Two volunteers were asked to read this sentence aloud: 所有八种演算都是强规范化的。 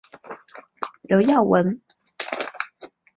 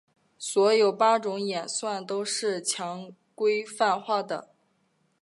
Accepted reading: second